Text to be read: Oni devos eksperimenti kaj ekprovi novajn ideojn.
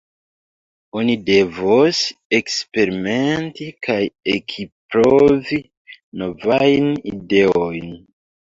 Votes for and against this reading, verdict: 1, 2, rejected